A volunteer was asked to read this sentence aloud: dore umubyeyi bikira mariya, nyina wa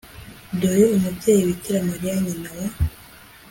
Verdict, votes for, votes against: accepted, 3, 0